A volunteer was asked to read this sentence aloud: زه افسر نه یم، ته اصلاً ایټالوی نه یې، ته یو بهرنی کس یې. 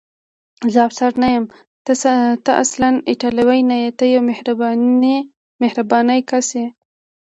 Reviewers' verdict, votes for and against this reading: rejected, 1, 2